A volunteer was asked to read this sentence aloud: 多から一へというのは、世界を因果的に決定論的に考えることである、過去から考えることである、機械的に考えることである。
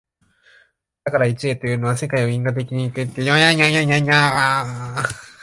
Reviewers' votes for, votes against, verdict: 0, 2, rejected